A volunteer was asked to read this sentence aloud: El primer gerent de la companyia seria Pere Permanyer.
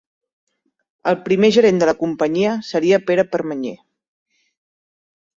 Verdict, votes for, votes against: accepted, 2, 0